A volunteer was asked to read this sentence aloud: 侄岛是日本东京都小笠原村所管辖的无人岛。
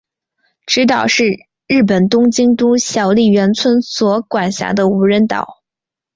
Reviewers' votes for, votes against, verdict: 3, 0, accepted